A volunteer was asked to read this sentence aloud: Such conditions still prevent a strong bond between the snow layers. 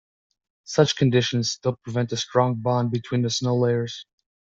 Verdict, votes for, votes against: accepted, 2, 0